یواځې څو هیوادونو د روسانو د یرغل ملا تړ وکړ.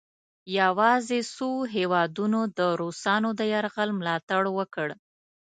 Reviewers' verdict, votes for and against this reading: accepted, 2, 0